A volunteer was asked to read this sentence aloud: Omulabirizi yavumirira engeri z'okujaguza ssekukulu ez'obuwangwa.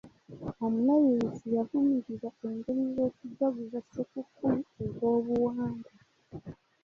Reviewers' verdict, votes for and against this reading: accepted, 2, 0